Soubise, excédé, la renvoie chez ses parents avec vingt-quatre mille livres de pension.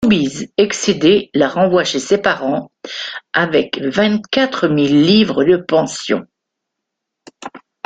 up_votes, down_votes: 2, 0